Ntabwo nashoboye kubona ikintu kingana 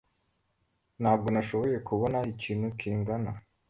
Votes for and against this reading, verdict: 2, 0, accepted